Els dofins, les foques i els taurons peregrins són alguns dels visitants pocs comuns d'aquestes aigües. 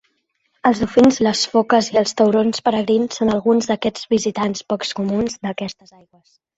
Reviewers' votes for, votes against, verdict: 0, 2, rejected